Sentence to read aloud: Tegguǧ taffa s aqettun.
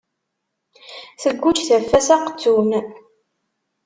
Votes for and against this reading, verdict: 2, 0, accepted